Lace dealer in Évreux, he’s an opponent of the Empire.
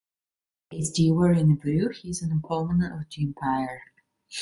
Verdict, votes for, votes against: rejected, 0, 2